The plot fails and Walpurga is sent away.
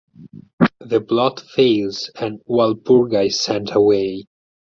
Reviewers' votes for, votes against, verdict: 4, 0, accepted